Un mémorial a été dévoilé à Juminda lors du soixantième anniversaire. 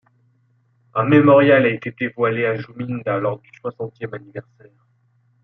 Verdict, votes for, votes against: accepted, 2, 0